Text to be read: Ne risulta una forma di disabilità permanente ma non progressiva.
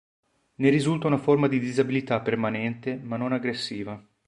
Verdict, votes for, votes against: rejected, 1, 3